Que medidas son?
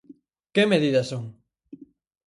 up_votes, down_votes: 4, 0